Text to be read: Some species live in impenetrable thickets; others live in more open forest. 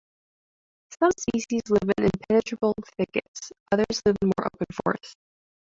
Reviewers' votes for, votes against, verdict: 2, 0, accepted